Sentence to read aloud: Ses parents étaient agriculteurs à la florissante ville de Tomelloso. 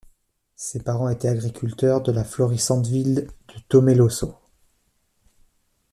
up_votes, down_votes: 1, 2